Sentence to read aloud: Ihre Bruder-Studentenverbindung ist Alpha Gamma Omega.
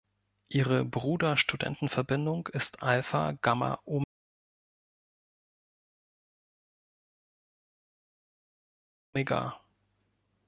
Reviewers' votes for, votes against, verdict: 1, 2, rejected